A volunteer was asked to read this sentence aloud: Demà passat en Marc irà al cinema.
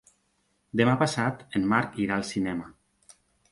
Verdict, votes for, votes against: accepted, 3, 0